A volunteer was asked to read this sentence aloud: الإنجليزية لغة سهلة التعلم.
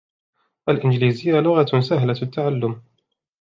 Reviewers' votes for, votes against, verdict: 2, 0, accepted